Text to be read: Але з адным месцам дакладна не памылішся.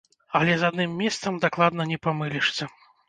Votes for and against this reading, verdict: 1, 2, rejected